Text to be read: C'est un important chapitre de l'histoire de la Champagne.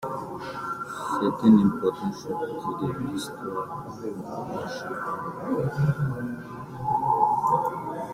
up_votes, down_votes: 0, 2